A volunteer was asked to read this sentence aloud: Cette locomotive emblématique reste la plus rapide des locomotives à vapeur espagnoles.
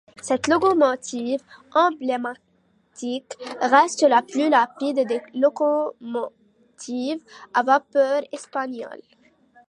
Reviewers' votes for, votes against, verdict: 2, 1, accepted